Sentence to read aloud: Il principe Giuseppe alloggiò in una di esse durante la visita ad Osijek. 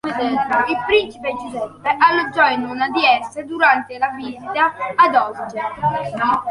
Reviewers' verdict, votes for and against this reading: rejected, 0, 2